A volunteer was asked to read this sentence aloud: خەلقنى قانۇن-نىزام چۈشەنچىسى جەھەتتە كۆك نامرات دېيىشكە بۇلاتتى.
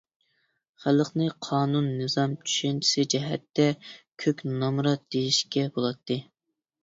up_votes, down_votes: 2, 0